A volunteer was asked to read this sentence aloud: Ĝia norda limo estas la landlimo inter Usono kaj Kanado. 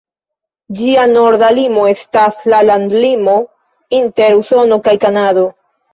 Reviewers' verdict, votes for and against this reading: accepted, 2, 0